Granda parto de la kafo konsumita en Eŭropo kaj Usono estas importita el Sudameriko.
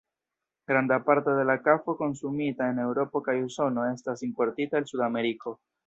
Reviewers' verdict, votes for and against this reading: rejected, 1, 2